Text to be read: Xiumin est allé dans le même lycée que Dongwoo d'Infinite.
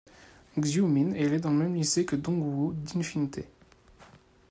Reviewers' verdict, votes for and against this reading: rejected, 0, 2